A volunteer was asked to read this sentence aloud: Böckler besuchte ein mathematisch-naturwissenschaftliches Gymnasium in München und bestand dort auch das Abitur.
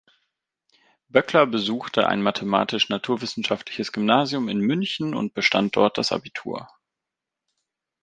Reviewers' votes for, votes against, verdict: 0, 2, rejected